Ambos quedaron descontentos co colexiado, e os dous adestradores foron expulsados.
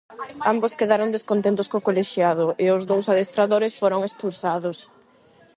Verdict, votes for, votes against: rejected, 4, 4